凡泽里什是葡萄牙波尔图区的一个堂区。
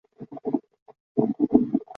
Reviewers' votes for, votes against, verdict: 0, 3, rejected